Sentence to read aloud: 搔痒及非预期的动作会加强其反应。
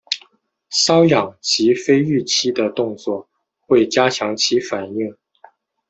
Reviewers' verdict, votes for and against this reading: accepted, 2, 0